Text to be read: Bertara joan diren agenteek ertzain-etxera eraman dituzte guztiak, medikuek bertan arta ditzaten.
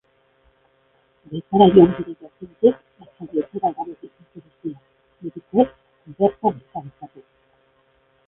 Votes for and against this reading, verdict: 0, 2, rejected